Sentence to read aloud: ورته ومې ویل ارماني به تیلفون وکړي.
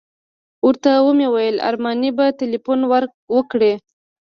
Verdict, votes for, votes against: accepted, 2, 0